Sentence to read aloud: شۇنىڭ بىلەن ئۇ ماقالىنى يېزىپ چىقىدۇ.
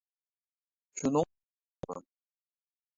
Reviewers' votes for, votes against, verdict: 0, 2, rejected